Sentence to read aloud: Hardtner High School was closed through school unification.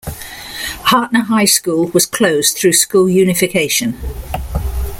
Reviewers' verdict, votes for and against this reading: accepted, 2, 0